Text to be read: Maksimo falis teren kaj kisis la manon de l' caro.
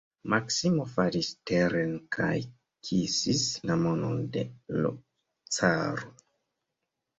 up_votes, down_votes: 2, 1